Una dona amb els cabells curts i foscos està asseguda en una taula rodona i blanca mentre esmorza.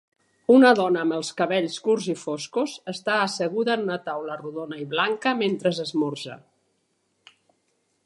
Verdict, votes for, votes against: rejected, 1, 2